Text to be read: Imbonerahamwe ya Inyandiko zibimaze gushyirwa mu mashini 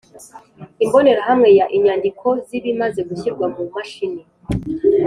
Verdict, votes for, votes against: accepted, 2, 0